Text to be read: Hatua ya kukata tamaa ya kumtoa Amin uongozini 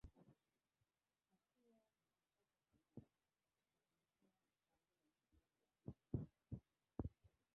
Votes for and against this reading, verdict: 0, 2, rejected